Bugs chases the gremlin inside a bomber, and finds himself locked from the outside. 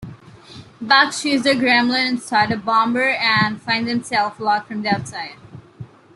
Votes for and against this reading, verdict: 0, 2, rejected